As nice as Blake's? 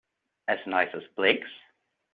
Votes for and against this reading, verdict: 2, 1, accepted